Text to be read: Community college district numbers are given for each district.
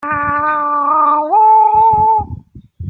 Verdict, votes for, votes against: rejected, 0, 2